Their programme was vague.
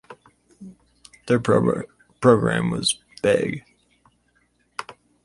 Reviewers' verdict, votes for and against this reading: rejected, 2, 2